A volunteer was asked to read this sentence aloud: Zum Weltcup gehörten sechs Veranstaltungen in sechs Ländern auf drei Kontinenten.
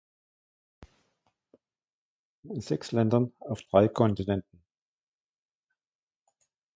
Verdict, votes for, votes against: rejected, 0, 2